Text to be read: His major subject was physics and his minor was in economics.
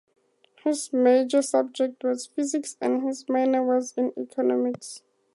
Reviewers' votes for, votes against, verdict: 2, 0, accepted